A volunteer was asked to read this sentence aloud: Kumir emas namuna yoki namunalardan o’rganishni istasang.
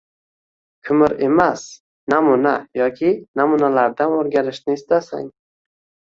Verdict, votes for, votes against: rejected, 1, 2